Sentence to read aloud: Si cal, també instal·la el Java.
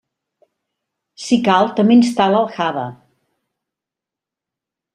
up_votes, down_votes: 1, 2